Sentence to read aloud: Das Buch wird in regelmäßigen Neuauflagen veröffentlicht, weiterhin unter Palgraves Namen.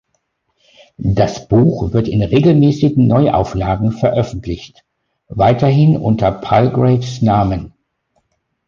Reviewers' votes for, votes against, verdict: 2, 0, accepted